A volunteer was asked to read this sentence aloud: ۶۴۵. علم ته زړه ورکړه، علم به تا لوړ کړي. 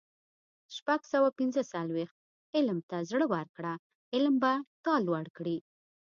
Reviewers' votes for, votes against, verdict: 0, 2, rejected